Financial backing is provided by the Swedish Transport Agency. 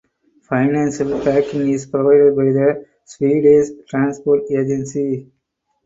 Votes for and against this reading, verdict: 4, 2, accepted